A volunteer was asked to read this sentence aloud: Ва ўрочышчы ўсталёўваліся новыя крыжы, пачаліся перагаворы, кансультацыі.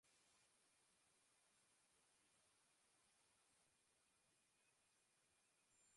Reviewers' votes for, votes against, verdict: 0, 2, rejected